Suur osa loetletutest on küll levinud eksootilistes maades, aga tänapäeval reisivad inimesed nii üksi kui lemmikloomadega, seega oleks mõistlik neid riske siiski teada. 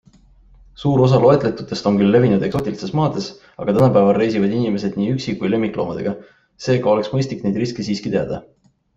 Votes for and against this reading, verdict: 2, 0, accepted